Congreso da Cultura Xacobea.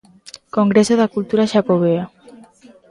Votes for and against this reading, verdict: 2, 0, accepted